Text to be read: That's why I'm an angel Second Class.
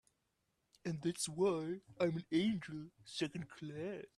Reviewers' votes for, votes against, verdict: 0, 2, rejected